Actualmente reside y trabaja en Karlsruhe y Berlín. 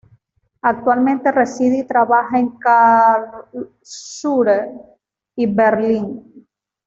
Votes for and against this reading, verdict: 1, 2, rejected